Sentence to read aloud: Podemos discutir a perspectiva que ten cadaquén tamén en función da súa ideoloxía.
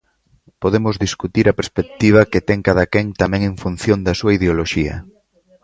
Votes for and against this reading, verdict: 2, 0, accepted